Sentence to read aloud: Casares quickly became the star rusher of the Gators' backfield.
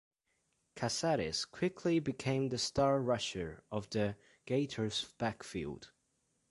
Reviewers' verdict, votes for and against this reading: accepted, 3, 0